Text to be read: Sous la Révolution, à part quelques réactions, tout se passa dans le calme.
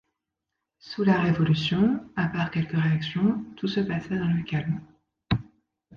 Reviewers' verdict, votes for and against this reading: accepted, 2, 0